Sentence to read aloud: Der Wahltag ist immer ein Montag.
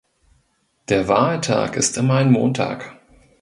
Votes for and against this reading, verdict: 2, 0, accepted